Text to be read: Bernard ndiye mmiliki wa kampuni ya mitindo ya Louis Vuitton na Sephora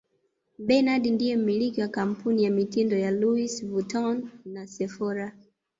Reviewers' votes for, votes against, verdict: 0, 2, rejected